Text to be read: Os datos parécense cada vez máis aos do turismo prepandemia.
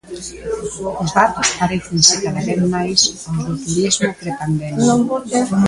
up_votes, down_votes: 0, 2